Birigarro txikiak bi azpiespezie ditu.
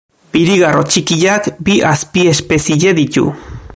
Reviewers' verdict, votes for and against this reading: rejected, 1, 2